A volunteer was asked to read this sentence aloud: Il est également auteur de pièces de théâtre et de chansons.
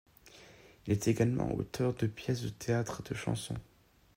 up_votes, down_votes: 2, 0